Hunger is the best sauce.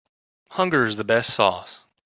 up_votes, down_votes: 2, 0